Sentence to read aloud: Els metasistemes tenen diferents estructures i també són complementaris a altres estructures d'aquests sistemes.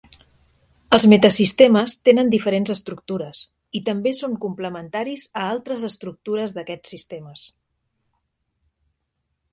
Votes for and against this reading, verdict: 3, 0, accepted